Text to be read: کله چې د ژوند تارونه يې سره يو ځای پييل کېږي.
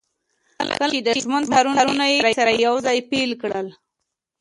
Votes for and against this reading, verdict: 0, 2, rejected